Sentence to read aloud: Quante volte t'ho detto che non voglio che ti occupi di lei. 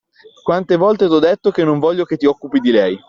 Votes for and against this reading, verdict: 2, 0, accepted